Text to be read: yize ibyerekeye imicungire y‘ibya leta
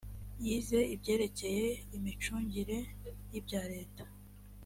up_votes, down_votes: 2, 0